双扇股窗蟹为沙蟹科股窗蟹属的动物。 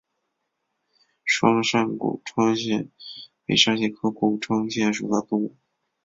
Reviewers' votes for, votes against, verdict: 4, 1, accepted